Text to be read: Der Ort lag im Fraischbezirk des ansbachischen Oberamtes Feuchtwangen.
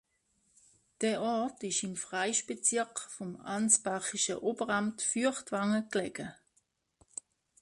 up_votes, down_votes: 0, 2